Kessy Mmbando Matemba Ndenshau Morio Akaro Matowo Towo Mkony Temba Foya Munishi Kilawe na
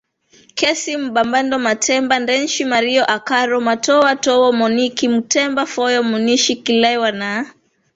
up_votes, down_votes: 1, 2